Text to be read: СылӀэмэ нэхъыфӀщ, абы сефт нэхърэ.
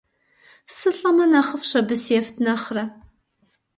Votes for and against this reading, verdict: 2, 0, accepted